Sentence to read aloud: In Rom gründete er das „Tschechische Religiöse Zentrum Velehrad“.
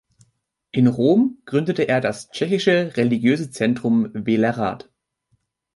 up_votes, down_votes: 2, 0